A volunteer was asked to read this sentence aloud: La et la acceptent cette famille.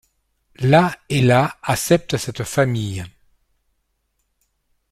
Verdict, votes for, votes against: rejected, 1, 2